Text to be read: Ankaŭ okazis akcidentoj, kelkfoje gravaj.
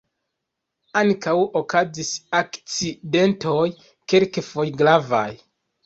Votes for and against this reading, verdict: 1, 2, rejected